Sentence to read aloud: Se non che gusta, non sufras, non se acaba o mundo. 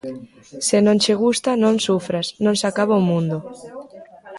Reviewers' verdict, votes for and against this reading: rejected, 1, 2